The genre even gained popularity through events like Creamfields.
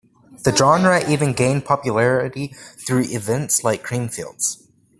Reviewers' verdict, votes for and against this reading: accepted, 2, 0